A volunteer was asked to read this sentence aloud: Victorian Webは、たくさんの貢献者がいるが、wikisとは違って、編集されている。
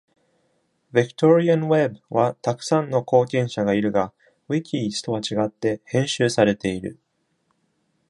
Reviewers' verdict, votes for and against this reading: accepted, 2, 0